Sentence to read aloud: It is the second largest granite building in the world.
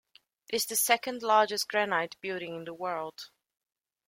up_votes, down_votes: 0, 2